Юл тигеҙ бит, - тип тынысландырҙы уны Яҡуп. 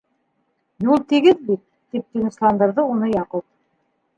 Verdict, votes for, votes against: rejected, 1, 2